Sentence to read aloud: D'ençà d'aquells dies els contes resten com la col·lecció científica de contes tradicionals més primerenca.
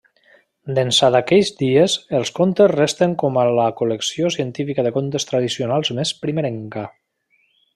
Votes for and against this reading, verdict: 0, 2, rejected